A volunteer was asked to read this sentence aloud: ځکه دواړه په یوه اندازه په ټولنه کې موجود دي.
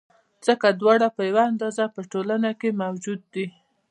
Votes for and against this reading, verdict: 2, 0, accepted